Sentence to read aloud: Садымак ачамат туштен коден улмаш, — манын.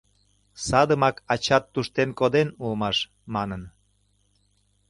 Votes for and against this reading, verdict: 1, 2, rejected